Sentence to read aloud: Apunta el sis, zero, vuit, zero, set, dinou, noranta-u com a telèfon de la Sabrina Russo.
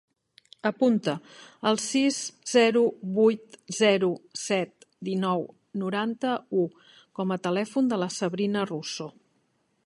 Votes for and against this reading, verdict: 2, 0, accepted